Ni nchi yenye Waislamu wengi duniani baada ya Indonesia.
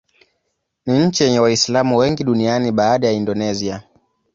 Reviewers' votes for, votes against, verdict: 11, 0, accepted